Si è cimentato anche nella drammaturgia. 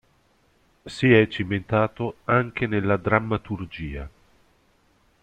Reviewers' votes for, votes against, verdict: 2, 0, accepted